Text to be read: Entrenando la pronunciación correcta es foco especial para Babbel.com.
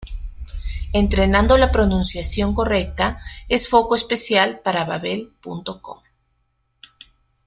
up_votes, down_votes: 2, 0